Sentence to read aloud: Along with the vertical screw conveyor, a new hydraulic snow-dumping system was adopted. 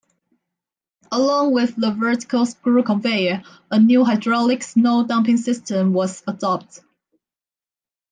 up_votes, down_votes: 0, 2